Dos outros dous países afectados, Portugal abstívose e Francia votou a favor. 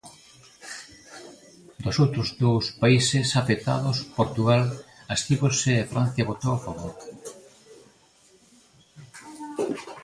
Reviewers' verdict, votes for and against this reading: accepted, 2, 0